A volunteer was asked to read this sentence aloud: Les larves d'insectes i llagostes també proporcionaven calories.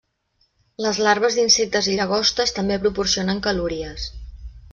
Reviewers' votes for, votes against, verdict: 0, 2, rejected